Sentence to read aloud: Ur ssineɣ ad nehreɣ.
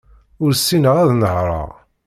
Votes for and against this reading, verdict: 2, 0, accepted